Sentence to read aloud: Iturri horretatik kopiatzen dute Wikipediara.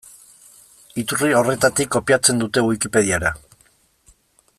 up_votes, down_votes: 2, 0